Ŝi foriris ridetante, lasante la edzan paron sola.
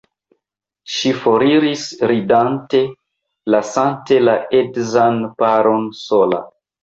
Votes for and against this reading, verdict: 1, 2, rejected